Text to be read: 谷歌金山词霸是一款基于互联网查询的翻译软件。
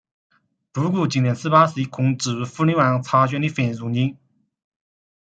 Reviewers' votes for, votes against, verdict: 0, 2, rejected